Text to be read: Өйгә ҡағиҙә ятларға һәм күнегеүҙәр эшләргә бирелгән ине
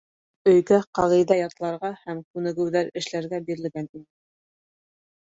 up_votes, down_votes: 3, 0